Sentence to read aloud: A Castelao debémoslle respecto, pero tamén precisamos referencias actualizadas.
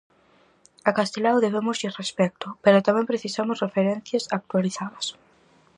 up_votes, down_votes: 4, 0